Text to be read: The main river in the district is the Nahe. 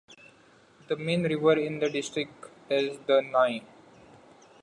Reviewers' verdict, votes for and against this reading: accepted, 2, 0